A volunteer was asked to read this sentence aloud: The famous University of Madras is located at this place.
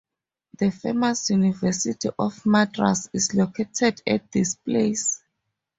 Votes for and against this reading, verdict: 2, 0, accepted